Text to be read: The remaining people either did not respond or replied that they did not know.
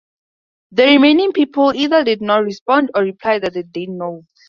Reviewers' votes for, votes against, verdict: 0, 4, rejected